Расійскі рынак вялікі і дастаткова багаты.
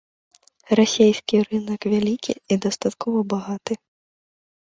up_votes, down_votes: 1, 2